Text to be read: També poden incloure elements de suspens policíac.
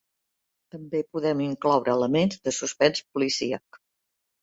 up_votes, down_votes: 0, 2